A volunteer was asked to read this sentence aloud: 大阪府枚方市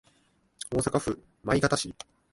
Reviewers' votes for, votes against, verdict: 1, 2, rejected